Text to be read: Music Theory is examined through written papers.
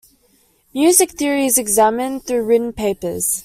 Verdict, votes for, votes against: accepted, 2, 0